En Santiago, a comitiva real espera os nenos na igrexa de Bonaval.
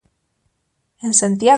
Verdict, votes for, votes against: rejected, 0, 2